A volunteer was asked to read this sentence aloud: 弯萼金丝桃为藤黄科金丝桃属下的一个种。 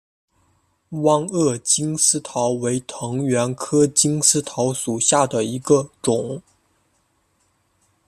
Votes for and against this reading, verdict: 2, 0, accepted